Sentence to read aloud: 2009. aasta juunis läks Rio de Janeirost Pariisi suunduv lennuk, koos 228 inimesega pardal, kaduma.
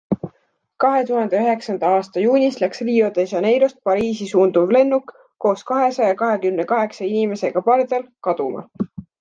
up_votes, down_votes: 0, 2